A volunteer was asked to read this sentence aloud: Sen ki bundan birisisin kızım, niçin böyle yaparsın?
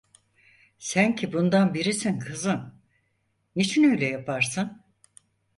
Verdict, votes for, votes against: rejected, 0, 4